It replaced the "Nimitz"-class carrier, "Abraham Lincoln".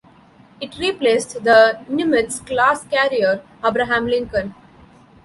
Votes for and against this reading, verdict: 2, 0, accepted